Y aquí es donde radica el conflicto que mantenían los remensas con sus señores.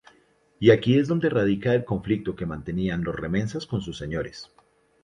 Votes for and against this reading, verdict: 2, 0, accepted